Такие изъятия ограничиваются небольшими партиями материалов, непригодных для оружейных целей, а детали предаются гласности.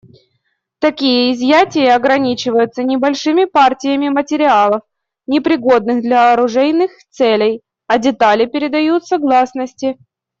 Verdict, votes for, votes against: accepted, 2, 0